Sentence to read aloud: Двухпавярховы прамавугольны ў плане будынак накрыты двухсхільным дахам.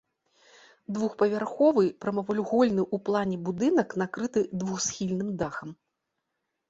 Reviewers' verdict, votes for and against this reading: rejected, 1, 2